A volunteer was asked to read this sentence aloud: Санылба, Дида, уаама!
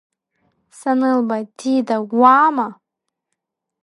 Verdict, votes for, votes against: accepted, 2, 0